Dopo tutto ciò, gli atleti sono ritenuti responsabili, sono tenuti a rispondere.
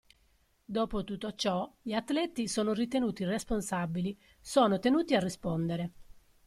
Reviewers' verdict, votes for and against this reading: accepted, 2, 0